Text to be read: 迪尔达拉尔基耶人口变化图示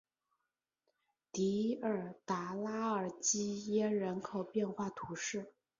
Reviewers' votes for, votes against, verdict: 2, 1, accepted